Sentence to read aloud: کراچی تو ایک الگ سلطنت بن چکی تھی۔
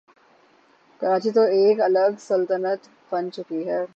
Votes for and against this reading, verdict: 3, 3, rejected